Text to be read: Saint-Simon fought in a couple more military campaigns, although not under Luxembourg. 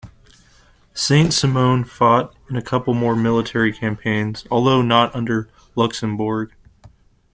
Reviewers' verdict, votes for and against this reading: rejected, 1, 2